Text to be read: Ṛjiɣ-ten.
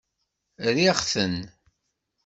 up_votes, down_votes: 1, 2